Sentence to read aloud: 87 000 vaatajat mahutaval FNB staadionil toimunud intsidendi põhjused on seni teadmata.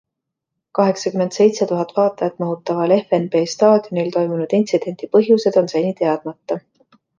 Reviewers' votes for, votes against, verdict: 0, 2, rejected